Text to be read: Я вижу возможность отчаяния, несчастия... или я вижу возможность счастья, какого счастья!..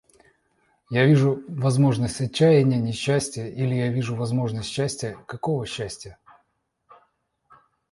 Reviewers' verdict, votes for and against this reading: accepted, 2, 0